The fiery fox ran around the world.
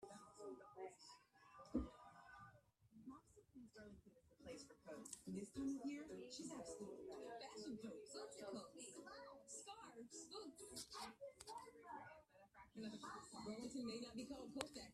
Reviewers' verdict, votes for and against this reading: rejected, 0, 2